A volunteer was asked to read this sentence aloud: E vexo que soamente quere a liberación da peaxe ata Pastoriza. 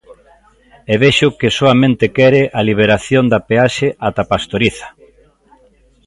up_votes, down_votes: 2, 0